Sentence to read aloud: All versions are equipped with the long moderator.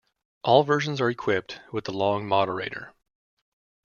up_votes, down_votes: 2, 0